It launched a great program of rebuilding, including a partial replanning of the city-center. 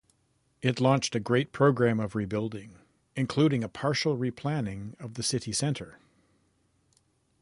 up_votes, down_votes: 2, 0